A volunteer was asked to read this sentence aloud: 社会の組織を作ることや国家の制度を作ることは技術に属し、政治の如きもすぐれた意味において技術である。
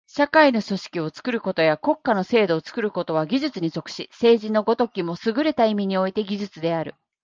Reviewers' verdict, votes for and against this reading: accepted, 2, 0